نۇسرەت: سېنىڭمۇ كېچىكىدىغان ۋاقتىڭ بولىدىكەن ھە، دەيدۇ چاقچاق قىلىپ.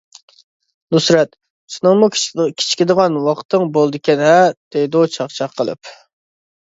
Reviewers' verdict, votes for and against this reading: rejected, 0, 2